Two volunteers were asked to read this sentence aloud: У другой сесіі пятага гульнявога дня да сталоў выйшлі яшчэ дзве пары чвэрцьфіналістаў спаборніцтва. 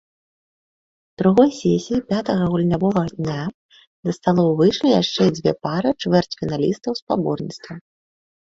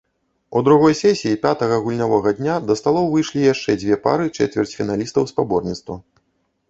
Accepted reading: first